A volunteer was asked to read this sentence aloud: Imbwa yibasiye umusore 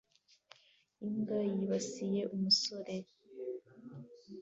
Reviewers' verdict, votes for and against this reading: accepted, 2, 0